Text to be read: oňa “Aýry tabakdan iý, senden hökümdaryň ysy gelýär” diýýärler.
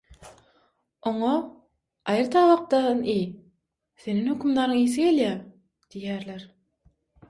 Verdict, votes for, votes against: rejected, 3, 6